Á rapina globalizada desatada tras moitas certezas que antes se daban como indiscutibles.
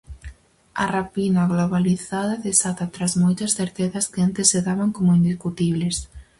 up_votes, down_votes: 0, 4